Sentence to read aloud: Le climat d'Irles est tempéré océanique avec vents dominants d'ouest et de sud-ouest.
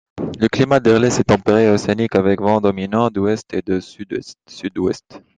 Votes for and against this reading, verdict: 1, 2, rejected